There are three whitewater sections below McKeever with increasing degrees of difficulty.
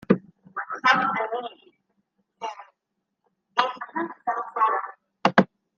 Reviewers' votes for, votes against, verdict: 0, 2, rejected